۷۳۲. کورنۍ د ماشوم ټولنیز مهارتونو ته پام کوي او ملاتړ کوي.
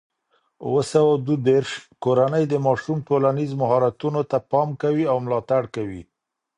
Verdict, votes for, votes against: rejected, 0, 2